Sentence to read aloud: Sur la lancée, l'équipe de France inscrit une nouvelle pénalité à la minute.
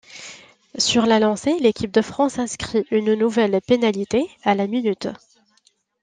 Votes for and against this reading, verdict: 2, 0, accepted